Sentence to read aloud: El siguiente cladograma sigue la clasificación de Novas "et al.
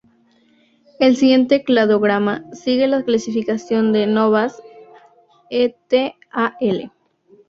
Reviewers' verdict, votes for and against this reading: rejected, 0, 2